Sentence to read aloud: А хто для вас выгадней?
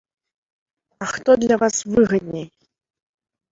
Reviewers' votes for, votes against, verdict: 2, 0, accepted